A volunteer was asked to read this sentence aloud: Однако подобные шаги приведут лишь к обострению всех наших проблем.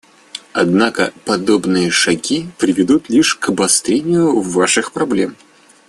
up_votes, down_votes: 1, 2